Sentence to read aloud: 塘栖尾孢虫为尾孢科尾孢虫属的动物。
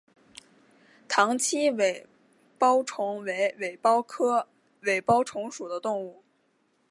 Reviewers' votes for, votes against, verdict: 2, 1, accepted